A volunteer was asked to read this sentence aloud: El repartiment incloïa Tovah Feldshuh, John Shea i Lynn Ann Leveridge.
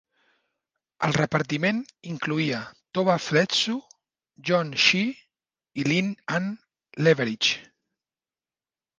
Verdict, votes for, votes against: rejected, 0, 2